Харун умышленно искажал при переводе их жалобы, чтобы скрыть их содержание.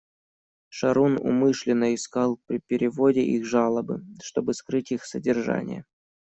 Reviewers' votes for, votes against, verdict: 0, 2, rejected